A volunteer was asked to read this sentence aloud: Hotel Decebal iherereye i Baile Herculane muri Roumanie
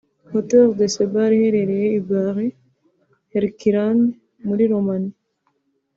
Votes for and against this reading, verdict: 3, 0, accepted